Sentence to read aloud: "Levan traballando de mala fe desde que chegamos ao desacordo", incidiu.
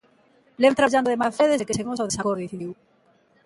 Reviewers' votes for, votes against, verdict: 0, 2, rejected